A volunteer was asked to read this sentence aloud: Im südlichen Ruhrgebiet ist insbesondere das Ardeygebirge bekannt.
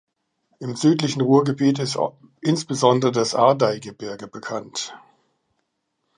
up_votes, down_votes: 1, 2